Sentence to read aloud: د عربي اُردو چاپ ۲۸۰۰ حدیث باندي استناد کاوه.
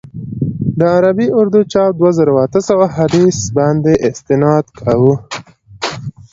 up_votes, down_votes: 0, 2